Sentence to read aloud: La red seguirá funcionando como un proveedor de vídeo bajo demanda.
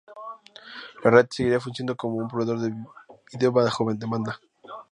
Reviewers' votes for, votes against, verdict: 0, 4, rejected